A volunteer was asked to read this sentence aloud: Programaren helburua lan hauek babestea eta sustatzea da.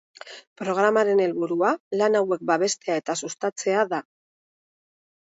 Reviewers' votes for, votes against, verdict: 3, 0, accepted